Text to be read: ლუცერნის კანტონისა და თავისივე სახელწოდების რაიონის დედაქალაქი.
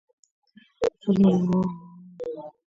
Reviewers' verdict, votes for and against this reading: rejected, 0, 2